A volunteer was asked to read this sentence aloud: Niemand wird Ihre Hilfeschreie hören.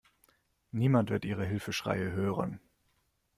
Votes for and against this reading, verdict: 2, 0, accepted